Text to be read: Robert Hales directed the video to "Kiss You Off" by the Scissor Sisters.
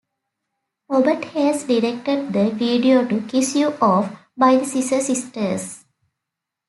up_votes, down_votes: 2, 0